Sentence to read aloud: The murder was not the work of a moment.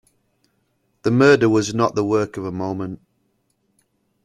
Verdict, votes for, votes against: accepted, 2, 0